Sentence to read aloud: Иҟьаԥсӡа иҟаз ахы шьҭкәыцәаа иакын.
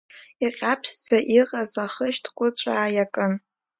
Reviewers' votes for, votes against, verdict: 1, 2, rejected